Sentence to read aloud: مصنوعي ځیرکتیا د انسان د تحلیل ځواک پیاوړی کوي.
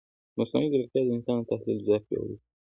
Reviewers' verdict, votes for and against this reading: rejected, 0, 2